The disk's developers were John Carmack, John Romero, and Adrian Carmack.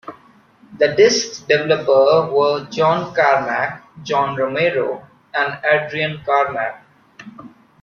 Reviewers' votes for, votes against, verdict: 1, 2, rejected